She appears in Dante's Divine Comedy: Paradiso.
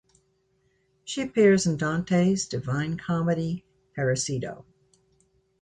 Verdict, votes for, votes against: rejected, 1, 2